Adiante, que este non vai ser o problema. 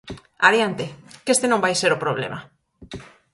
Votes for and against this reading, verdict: 4, 0, accepted